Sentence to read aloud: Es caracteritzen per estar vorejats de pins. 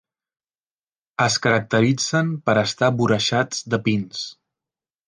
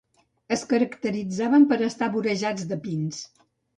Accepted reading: first